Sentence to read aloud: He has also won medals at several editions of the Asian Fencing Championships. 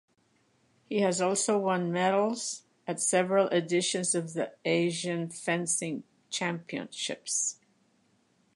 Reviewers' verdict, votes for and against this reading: accepted, 2, 0